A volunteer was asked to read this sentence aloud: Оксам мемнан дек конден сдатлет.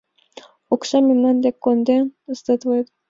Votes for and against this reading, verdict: 2, 0, accepted